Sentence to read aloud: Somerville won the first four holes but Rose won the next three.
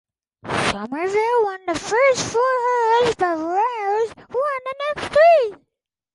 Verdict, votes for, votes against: rejected, 2, 4